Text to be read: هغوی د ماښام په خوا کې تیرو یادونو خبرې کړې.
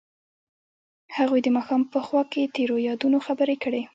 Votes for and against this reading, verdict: 2, 1, accepted